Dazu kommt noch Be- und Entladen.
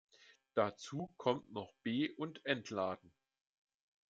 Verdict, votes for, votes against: accepted, 2, 0